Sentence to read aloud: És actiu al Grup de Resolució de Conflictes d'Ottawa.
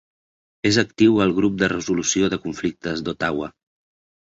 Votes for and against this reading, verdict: 3, 0, accepted